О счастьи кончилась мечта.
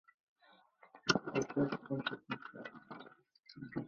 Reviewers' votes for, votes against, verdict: 0, 2, rejected